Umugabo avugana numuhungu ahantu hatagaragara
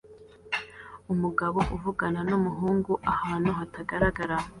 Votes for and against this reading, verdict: 2, 1, accepted